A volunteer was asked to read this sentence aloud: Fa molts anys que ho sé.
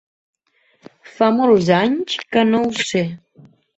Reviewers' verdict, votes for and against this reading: rejected, 0, 4